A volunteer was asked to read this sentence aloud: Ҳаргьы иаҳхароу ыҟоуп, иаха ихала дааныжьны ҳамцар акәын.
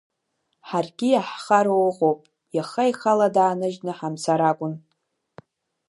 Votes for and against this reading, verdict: 2, 0, accepted